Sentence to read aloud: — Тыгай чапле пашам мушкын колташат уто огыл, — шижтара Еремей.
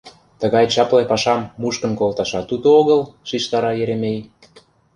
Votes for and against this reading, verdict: 2, 0, accepted